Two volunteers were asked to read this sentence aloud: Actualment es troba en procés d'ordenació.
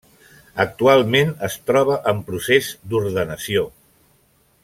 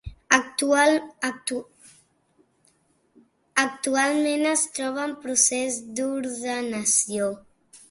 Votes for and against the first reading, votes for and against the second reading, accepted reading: 3, 0, 1, 2, first